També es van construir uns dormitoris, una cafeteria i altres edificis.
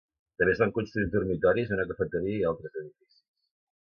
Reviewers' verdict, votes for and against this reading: rejected, 0, 2